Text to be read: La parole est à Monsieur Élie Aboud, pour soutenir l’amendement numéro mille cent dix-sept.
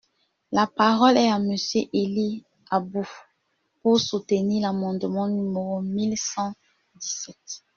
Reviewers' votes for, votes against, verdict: 0, 2, rejected